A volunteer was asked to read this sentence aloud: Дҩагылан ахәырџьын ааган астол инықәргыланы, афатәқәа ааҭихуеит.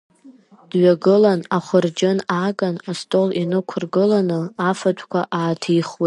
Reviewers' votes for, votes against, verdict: 1, 2, rejected